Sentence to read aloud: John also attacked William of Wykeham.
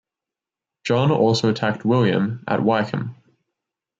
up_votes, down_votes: 0, 2